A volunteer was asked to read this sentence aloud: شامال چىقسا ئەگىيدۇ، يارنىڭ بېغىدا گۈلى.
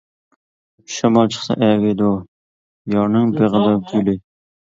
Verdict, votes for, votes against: rejected, 0, 2